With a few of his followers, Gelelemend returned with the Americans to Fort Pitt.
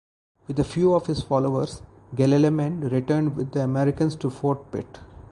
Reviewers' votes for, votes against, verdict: 2, 2, rejected